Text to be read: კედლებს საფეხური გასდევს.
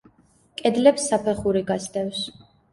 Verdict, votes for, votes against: accepted, 2, 0